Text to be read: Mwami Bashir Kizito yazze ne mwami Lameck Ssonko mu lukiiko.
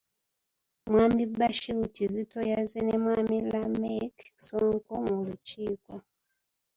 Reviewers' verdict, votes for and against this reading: rejected, 0, 2